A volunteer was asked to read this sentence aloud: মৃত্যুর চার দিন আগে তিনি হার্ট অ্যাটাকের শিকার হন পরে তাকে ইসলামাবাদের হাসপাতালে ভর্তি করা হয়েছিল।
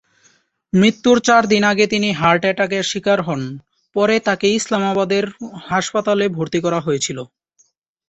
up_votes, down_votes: 22, 3